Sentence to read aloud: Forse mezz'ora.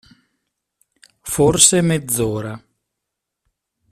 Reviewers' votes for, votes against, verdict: 2, 0, accepted